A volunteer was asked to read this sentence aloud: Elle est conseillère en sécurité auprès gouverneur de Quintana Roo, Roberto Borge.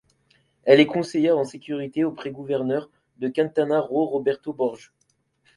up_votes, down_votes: 2, 0